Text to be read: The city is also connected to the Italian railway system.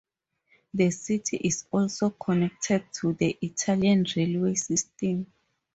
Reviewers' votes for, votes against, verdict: 2, 0, accepted